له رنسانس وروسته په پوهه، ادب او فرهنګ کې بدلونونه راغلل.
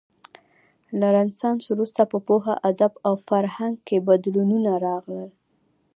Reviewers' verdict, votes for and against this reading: rejected, 0, 2